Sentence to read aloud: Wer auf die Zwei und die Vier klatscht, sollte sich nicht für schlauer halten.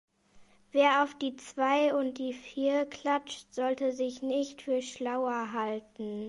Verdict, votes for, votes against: accepted, 2, 0